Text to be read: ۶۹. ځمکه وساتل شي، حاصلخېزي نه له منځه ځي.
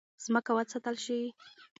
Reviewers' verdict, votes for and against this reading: rejected, 0, 2